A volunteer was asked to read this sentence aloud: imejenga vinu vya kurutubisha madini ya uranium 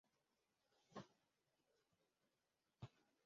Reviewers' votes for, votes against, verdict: 0, 2, rejected